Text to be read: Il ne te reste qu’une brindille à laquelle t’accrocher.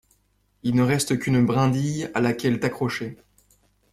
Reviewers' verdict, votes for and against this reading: rejected, 0, 2